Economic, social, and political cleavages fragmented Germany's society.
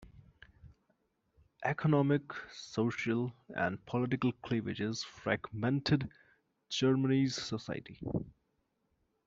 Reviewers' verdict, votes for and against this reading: accepted, 2, 0